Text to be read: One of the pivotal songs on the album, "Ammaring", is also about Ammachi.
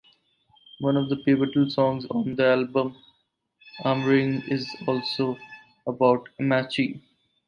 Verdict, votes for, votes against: accepted, 4, 0